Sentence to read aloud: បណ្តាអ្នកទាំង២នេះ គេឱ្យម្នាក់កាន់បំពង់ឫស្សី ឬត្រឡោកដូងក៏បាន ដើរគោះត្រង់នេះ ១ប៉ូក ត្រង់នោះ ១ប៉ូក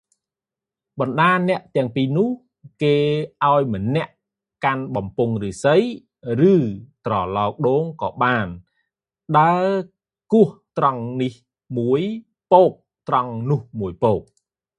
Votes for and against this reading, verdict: 0, 2, rejected